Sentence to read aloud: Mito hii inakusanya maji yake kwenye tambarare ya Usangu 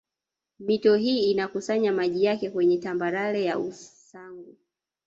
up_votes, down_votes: 2, 1